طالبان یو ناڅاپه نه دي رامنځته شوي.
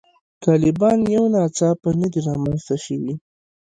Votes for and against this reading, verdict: 2, 1, accepted